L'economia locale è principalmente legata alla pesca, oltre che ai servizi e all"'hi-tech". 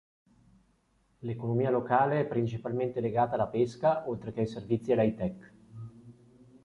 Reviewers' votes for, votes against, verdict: 2, 0, accepted